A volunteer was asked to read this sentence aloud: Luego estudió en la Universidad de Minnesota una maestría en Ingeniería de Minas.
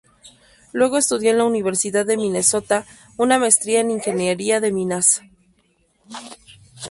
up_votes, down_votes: 2, 0